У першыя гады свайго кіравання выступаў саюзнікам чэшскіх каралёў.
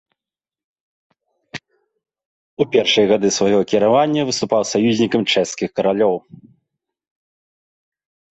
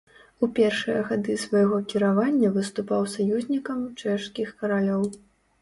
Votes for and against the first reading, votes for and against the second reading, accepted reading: 2, 0, 1, 2, first